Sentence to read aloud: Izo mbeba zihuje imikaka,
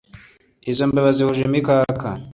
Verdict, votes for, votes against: accepted, 2, 0